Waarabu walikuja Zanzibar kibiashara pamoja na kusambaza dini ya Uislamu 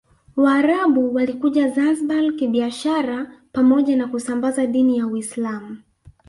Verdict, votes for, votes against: accepted, 2, 0